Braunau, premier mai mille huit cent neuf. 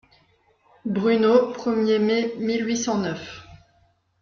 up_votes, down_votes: 0, 2